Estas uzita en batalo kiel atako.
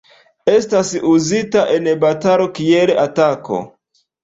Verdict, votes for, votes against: rejected, 1, 2